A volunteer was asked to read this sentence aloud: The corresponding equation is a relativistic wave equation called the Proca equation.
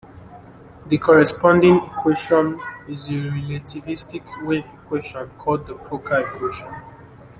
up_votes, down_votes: 1, 2